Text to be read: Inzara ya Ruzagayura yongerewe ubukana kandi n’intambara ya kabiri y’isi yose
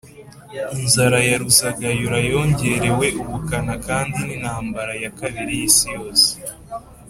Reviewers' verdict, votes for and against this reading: accepted, 2, 0